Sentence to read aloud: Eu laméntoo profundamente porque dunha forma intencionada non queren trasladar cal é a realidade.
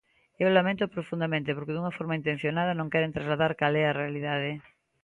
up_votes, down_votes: 2, 0